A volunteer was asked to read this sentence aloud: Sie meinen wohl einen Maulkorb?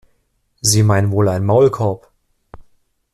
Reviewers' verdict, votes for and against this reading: accepted, 2, 0